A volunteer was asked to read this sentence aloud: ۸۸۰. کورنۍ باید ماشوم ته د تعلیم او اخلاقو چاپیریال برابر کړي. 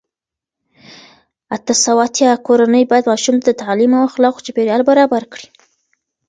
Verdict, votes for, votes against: rejected, 0, 2